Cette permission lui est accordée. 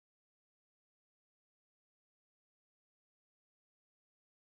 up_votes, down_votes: 0, 2